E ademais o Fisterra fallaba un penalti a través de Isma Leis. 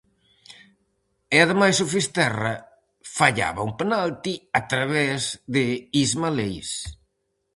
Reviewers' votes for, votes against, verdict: 4, 0, accepted